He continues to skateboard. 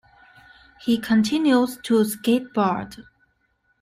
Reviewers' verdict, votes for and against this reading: accepted, 2, 0